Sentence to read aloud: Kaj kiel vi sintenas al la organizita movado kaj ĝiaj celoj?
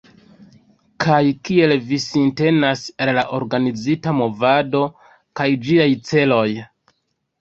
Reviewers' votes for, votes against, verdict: 4, 2, accepted